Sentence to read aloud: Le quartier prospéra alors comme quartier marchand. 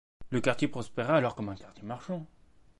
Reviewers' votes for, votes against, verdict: 1, 2, rejected